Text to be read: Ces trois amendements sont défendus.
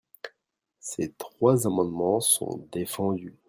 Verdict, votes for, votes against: accepted, 2, 0